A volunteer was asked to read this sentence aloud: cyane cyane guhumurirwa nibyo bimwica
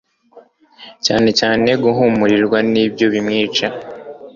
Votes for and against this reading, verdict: 2, 0, accepted